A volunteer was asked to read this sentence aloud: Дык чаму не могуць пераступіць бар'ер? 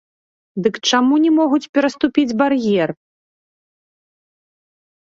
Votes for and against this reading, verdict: 1, 2, rejected